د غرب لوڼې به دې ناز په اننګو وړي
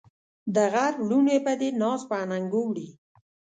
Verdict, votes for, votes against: accepted, 2, 0